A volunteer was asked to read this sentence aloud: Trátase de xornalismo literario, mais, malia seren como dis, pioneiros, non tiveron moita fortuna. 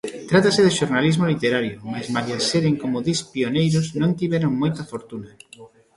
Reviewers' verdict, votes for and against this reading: rejected, 1, 2